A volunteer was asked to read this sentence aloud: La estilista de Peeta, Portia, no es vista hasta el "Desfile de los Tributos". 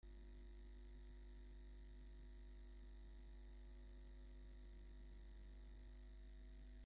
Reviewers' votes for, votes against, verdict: 0, 2, rejected